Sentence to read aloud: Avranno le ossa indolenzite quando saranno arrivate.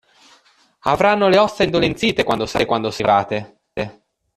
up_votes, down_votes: 0, 2